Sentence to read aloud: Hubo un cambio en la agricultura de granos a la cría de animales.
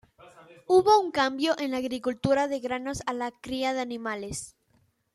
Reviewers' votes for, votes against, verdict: 2, 0, accepted